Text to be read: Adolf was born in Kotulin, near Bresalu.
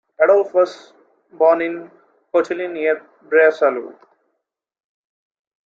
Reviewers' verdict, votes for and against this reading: accepted, 3, 1